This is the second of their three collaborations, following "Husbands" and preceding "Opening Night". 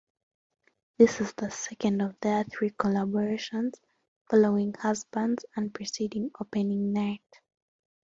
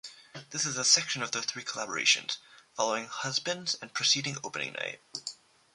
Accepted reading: first